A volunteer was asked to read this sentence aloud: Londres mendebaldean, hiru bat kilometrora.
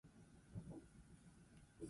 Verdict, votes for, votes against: rejected, 0, 2